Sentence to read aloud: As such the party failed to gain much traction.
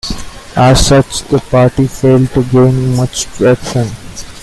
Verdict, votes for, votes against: rejected, 1, 2